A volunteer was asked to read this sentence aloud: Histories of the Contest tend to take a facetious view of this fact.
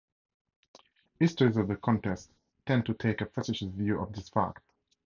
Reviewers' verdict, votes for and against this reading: rejected, 2, 2